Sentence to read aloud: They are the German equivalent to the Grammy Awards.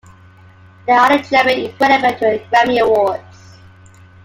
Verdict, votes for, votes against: rejected, 0, 2